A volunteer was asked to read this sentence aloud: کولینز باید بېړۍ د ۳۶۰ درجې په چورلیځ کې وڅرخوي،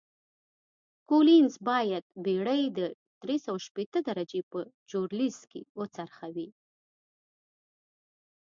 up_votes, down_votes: 0, 2